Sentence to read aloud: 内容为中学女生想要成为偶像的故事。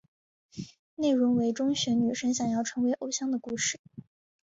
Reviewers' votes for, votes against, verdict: 2, 0, accepted